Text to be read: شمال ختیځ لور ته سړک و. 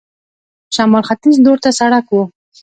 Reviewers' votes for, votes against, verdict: 2, 1, accepted